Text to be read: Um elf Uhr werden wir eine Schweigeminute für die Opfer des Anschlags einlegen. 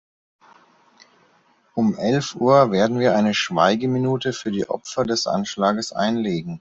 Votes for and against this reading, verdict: 1, 2, rejected